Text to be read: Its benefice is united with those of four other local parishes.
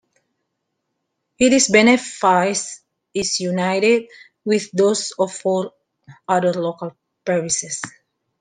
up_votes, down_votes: 0, 2